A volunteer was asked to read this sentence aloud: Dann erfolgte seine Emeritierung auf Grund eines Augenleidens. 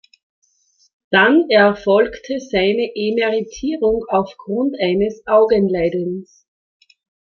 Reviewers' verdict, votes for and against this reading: rejected, 1, 2